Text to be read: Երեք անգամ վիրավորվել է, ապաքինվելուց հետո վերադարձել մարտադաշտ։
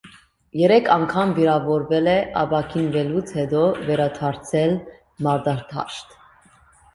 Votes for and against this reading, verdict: 2, 0, accepted